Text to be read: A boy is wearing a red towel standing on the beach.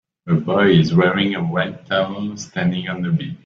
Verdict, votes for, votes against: accepted, 2, 1